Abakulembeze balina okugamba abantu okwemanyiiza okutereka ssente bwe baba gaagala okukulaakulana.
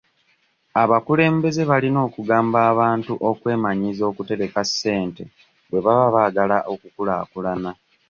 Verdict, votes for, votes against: rejected, 1, 2